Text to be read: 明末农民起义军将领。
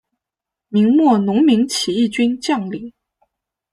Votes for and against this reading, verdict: 2, 1, accepted